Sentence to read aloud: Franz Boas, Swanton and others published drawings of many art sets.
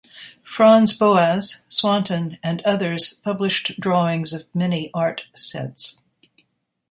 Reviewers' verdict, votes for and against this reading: accepted, 2, 0